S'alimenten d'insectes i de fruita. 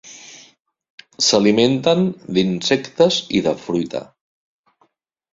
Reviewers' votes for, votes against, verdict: 3, 0, accepted